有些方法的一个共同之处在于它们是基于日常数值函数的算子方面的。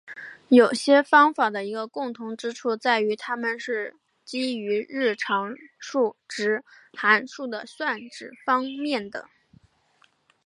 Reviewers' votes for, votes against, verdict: 2, 0, accepted